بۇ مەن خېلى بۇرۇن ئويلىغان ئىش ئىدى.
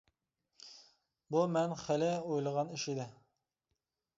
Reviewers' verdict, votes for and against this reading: rejected, 0, 2